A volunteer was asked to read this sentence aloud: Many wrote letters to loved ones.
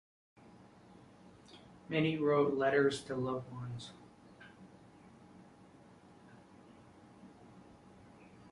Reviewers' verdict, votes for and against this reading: accepted, 2, 0